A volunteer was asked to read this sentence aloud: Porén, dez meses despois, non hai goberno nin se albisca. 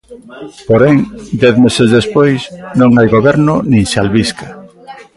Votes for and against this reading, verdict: 2, 0, accepted